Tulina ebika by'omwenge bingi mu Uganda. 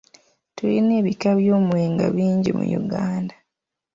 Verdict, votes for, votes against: accepted, 2, 0